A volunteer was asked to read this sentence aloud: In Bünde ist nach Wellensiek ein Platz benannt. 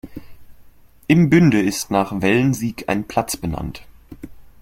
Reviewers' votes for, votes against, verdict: 2, 1, accepted